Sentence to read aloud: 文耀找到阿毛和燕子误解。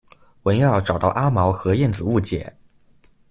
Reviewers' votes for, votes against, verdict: 2, 0, accepted